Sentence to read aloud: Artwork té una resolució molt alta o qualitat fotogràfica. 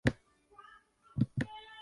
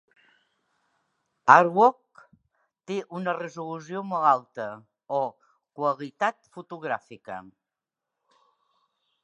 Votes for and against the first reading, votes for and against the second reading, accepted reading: 0, 3, 2, 0, second